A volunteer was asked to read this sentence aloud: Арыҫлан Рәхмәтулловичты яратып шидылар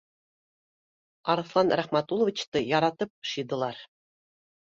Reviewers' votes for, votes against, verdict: 2, 0, accepted